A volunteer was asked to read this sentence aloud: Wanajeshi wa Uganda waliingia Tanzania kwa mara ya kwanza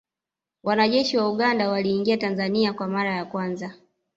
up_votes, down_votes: 1, 2